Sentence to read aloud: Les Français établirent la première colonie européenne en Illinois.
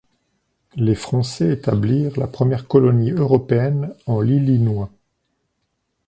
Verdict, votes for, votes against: rejected, 1, 2